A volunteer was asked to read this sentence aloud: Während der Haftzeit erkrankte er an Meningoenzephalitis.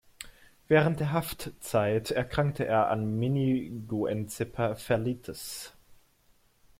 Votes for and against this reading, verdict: 0, 2, rejected